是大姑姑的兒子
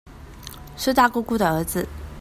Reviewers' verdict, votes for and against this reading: accepted, 2, 0